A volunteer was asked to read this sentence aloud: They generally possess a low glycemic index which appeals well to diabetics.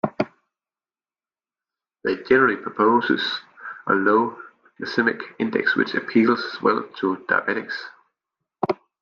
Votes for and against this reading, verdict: 0, 2, rejected